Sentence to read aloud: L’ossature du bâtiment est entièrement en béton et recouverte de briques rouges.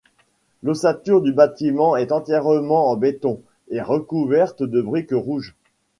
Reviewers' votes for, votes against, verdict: 2, 0, accepted